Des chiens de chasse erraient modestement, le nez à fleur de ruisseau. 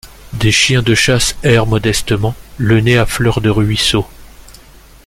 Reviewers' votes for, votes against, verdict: 1, 2, rejected